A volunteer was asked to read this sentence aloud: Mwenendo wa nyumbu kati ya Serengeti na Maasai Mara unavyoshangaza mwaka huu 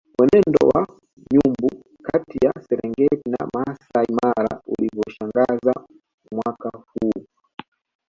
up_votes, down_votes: 0, 2